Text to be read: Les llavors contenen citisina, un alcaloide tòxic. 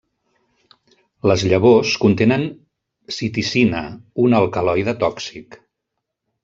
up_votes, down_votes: 0, 2